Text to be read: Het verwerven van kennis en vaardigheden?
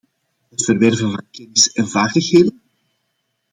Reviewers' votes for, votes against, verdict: 0, 2, rejected